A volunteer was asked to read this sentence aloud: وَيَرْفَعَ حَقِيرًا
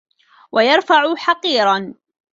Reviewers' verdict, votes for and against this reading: accepted, 2, 0